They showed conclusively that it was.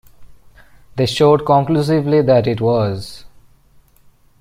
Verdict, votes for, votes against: accepted, 2, 0